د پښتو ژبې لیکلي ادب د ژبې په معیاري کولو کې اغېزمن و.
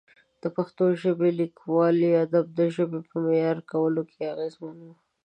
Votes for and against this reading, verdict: 0, 2, rejected